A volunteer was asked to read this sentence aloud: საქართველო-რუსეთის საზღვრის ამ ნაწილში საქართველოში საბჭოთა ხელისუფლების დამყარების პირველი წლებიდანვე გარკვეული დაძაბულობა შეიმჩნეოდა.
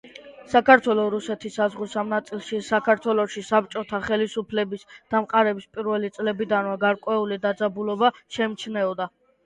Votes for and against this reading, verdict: 2, 0, accepted